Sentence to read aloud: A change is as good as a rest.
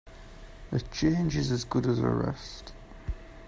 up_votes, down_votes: 2, 0